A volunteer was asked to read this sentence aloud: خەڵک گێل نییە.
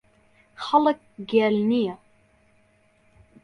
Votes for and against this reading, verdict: 2, 0, accepted